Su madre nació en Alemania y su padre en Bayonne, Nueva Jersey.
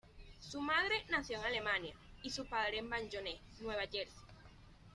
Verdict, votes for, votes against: accepted, 2, 0